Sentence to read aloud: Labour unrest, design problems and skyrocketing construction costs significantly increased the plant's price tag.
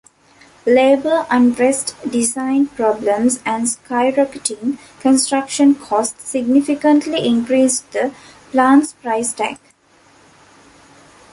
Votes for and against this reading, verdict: 0, 2, rejected